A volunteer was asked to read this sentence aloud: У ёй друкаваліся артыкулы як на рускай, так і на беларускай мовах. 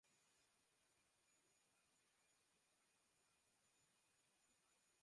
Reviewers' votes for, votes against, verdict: 0, 2, rejected